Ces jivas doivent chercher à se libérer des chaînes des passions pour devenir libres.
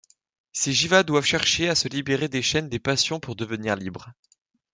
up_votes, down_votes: 2, 0